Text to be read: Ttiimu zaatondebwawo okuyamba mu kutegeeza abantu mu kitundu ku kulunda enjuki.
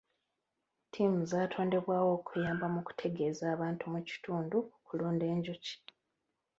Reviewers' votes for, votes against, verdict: 2, 0, accepted